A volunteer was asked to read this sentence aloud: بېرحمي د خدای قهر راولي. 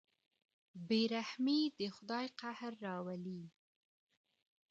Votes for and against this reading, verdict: 2, 0, accepted